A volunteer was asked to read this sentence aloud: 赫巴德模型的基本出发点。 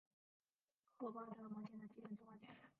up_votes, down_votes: 0, 2